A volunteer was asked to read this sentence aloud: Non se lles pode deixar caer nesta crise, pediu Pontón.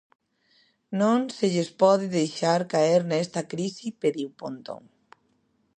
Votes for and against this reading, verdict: 1, 2, rejected